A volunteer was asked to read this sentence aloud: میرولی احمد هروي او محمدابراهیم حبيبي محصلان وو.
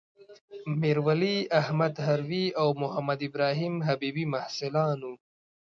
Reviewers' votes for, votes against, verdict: 1, 2, rejected